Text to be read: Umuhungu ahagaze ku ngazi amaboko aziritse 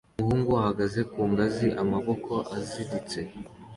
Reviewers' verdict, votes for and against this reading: accepted, 2, 0